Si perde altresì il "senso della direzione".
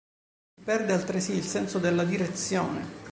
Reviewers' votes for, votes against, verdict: 0, 2, rejected